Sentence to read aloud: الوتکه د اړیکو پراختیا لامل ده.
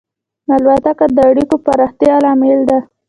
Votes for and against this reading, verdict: 2, 0, accepted